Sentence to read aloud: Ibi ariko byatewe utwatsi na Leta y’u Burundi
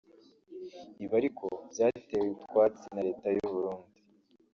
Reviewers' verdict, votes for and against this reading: rejected, 1, 2